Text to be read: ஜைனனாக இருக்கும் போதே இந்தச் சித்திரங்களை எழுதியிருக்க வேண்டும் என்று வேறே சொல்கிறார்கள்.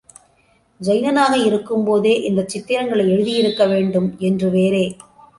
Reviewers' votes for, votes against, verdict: 0, 2, rejected